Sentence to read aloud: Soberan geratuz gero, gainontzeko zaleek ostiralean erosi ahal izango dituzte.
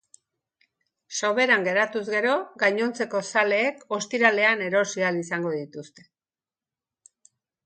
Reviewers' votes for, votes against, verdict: 2, 0, accepted